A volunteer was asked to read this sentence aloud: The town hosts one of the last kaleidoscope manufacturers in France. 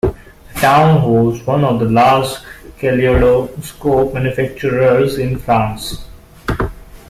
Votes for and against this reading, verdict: 0, 2, rejected